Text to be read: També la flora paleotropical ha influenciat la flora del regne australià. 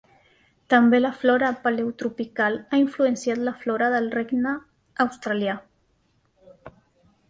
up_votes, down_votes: 2, 0